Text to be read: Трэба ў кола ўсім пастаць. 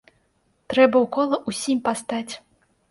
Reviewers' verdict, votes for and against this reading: accepted, 2, 0